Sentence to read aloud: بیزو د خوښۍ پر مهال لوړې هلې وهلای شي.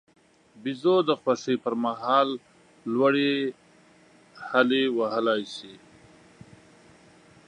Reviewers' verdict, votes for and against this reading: accepted, 2, 0